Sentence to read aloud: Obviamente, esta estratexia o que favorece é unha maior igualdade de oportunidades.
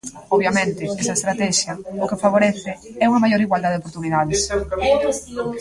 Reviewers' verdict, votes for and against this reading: rejected, 0, 2